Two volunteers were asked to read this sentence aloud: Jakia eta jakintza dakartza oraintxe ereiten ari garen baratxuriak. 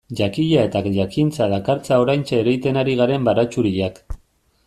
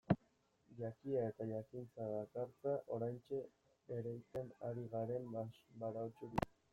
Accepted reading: first